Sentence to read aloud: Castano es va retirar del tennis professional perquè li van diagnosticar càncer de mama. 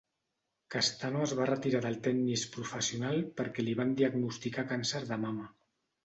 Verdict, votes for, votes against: accepted, 2, 0